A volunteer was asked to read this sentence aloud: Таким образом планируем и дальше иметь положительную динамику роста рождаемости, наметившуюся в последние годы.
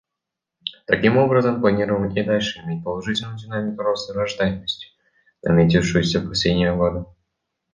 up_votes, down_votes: 0, 2